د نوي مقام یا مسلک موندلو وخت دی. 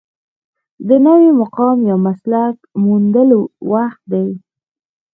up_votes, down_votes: 0, 2